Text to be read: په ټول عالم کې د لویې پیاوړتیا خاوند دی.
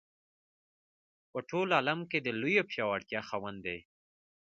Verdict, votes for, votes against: rejected, 0, 2